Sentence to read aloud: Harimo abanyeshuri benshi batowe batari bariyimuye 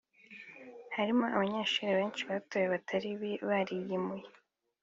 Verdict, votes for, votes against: accepted, 4, 1